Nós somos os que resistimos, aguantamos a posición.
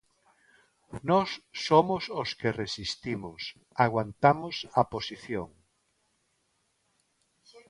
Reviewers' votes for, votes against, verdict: 2, 0, accepted